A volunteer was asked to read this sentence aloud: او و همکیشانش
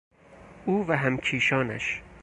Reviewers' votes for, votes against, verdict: 4, 0, accepted